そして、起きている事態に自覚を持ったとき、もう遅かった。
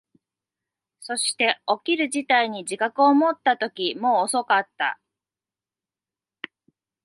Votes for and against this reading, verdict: 0, 2, rejected